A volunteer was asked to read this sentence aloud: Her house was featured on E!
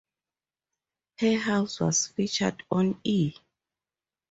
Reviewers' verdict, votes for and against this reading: accepted, 2, 0